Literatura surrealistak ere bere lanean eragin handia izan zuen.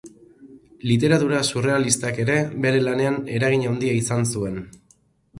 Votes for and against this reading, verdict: 2, 0, accepted